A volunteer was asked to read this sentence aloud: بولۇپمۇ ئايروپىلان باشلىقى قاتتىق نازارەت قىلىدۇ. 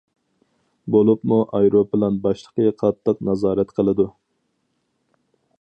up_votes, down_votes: 4, 0